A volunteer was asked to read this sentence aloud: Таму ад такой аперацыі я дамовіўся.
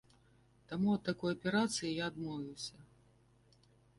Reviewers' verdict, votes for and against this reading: rejected, 1, 2